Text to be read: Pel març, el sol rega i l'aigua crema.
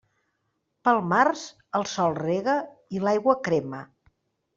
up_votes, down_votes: 3, 0